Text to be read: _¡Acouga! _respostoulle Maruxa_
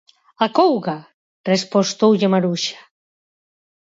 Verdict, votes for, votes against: accepted, 4, 0